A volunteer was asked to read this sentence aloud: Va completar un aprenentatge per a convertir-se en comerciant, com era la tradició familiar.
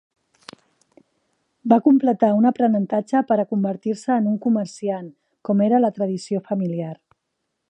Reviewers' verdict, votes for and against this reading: rejected, 1, 2